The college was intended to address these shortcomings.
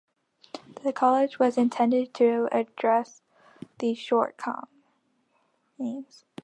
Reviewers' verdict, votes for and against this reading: rejected, 1, 3